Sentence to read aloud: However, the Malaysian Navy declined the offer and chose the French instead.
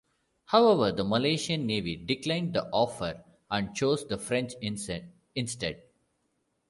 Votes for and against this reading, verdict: 0, 2, rejected